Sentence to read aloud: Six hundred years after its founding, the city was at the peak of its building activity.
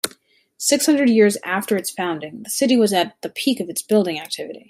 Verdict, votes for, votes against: accepted, 2, 0